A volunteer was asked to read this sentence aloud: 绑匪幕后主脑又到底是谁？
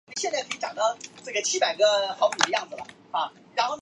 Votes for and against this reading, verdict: 0, 2, rejected